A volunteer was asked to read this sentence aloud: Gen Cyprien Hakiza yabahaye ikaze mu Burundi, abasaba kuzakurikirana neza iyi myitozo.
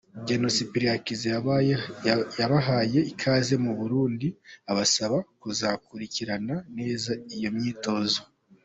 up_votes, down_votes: 2, 0